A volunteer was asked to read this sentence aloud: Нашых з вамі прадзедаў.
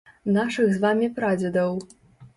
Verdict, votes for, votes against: accepted, 3, 0